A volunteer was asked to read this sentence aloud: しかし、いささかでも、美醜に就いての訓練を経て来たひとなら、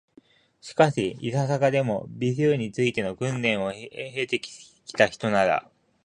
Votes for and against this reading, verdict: 1, 2, rejected